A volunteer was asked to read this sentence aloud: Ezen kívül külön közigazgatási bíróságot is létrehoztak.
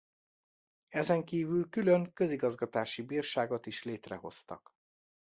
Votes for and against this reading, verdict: 0, 2, rejected